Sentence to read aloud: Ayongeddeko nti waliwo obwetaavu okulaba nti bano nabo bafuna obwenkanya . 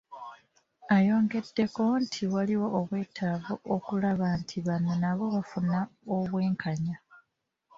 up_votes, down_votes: 2, 1